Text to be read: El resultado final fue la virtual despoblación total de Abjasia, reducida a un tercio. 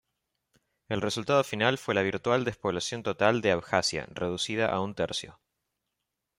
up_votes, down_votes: 2, 0